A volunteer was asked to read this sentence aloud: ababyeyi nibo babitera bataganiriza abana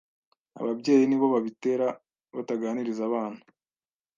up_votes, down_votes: 2, 0